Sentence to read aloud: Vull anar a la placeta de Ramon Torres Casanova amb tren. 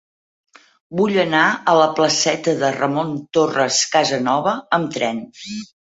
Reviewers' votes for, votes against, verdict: 2, 4, rejected